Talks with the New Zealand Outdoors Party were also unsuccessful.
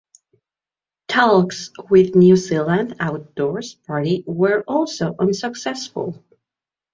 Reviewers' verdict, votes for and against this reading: rejected, 0, 2